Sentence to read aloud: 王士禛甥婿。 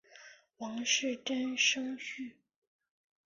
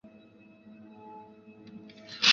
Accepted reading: first